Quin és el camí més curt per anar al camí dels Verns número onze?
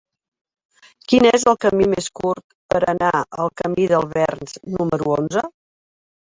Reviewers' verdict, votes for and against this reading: accepted, 2, 1